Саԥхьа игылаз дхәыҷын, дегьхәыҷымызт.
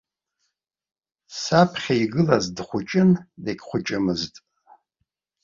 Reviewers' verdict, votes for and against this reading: accepted, 2, 0